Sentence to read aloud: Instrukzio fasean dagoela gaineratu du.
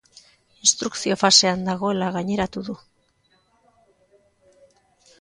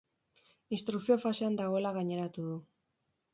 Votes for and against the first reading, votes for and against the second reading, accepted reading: 2, 0, 2, 2, first